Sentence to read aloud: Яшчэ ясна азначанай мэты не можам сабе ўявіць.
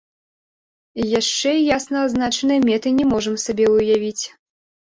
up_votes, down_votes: 1, 2